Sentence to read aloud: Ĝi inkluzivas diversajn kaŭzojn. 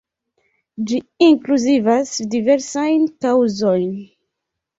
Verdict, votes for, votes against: accepted, 2, 0